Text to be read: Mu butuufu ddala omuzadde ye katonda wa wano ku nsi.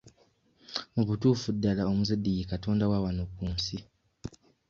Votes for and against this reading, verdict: 2, 0, accepted